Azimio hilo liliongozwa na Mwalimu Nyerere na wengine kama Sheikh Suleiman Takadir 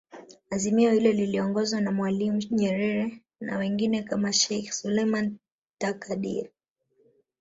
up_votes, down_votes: 6, 0